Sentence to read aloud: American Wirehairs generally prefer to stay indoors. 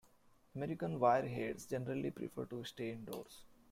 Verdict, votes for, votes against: accepted, 2, 1